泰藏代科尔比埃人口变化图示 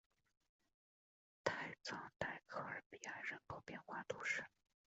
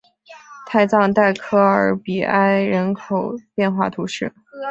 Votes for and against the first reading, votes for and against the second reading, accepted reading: 1, 2, 2, 0, second